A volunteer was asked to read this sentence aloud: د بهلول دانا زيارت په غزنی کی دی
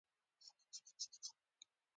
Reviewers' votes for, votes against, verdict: 2, 1, accepted